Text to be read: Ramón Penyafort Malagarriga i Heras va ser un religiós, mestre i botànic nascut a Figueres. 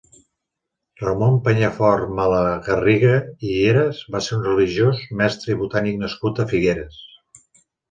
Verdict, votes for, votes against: accepted, 3, 0